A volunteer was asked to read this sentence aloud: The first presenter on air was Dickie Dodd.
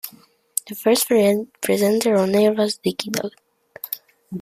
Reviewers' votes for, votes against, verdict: 0, 2, rejected